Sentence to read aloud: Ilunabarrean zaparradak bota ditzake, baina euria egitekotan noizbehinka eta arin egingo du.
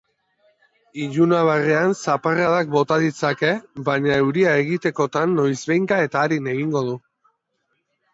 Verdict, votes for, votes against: accepted, 3, 0